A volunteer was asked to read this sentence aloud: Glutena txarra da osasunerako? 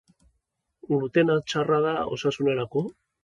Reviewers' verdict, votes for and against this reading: accepted, 3, 0